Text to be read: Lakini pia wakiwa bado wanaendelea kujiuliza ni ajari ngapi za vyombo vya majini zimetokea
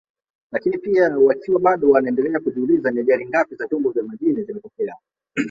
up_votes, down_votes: 1, 2